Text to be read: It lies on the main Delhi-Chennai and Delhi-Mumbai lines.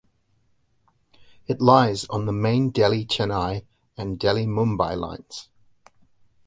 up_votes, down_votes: 2, 0